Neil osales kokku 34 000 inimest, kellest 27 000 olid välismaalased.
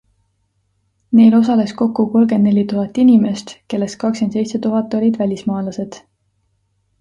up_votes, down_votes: 0, 2